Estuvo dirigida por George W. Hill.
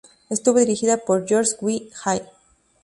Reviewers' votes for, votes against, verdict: 0, 2, rejected